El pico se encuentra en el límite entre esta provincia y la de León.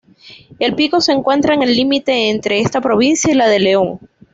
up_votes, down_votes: 2, 0